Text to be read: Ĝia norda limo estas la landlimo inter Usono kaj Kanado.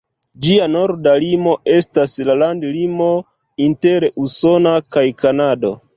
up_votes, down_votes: 1, 2